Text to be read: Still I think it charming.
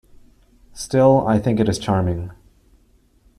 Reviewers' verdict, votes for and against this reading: rejected, 1, 2